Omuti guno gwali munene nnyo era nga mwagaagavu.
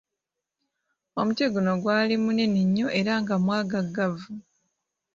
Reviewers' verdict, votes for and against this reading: accepted, 2, 0